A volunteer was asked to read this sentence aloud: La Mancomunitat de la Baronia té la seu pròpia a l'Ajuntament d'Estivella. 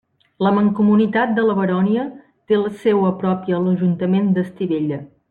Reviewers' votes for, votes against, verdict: 1, 2, rejected